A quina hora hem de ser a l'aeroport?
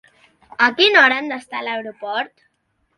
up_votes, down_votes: 1, 3